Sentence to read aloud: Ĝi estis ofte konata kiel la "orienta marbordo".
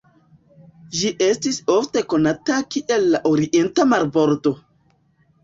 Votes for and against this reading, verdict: 2, 0, accepted